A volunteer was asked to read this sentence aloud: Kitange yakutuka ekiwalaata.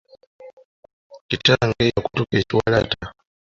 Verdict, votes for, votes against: accepted, 2, 1